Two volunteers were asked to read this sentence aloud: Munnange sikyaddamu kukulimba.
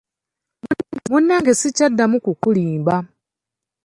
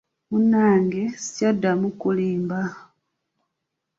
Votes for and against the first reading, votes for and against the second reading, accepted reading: 2, 0, 1, 2, first